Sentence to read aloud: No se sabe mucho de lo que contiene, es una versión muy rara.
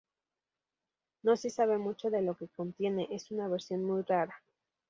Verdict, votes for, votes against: accepted, 4, 0